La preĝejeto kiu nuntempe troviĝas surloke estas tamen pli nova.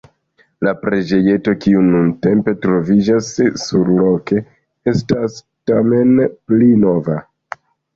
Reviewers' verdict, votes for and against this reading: rejected, 1, 2